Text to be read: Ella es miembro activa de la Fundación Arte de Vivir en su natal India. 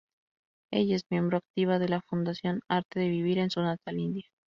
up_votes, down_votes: 0, 2